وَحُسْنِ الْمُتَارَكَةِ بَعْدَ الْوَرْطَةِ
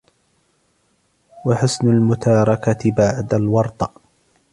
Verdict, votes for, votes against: accepted, 2, 0